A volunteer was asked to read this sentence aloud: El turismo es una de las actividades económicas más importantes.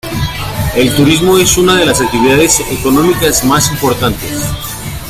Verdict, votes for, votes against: accepted, 2, 0